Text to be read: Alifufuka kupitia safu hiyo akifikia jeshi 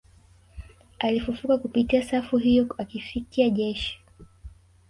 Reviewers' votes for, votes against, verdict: 4, 0, accepted